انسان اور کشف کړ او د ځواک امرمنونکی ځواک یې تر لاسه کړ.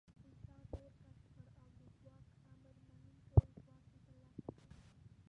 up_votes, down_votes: 1, 2